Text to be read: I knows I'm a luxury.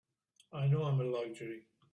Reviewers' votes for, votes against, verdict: 1, 2, rejected